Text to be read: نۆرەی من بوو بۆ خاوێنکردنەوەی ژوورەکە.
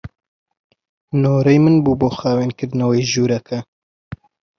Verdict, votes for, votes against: accepted, 2, 0